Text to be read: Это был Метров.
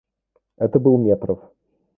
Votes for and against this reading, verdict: 0, 2, rejected